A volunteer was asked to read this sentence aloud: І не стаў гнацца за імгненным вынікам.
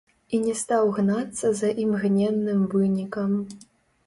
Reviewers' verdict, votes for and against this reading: rejected, 0, 2